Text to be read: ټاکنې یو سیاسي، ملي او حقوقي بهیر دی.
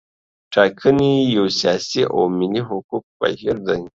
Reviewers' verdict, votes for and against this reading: rejected, 0, 2